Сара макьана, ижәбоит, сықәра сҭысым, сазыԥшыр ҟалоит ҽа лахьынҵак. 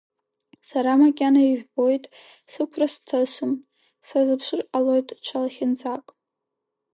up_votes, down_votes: 2, 0